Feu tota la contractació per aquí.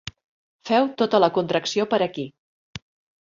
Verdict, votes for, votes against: rejected, 0, 2